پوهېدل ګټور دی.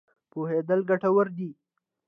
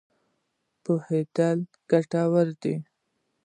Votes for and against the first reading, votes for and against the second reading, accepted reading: 2, 0, 1, 2, first